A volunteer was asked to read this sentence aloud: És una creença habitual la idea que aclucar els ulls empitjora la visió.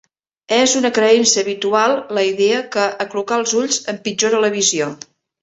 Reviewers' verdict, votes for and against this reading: accepted, 2, 0